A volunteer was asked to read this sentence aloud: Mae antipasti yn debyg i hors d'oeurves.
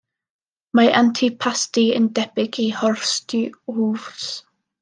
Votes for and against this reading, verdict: 0, 2, rejected